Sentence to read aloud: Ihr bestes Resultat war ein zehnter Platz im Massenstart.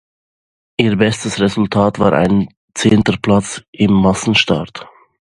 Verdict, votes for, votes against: accepted, 2, 0